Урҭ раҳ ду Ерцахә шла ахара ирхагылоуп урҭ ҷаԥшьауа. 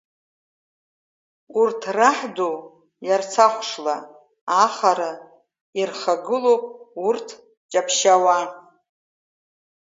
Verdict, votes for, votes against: rejected, 0, 2